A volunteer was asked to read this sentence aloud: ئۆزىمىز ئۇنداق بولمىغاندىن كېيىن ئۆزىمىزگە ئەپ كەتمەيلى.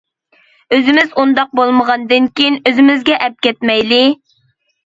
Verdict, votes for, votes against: accepted, 2, 0